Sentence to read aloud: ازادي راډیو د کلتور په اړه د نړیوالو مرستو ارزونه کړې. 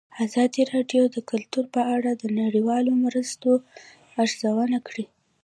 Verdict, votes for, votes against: accepted, 2, 0